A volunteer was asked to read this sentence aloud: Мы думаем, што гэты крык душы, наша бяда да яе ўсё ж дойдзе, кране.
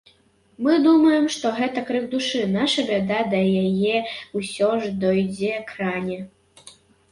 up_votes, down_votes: 0, 2